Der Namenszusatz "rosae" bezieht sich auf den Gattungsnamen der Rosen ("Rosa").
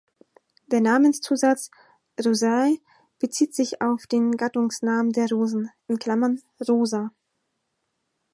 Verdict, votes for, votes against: rejected, 0, 4